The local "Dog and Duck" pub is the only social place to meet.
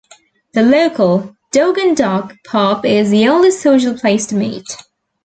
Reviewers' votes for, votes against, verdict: 2, 0, accepted